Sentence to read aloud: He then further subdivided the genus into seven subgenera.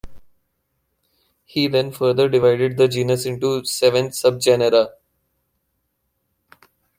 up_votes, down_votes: 0, 2